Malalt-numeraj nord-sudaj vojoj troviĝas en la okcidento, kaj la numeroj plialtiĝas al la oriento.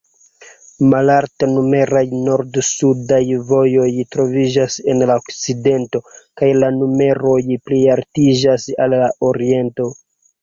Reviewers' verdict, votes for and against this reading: rejected, 2, 3